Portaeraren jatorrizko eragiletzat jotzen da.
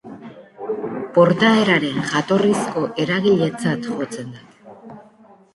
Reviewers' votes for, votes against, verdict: 1, 2, rejected